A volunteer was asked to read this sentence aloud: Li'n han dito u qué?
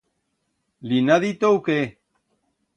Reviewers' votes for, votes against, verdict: 1, 2, rejected